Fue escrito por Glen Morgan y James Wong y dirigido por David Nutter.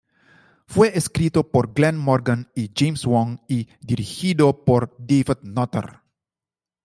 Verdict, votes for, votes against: accepted, 2, 1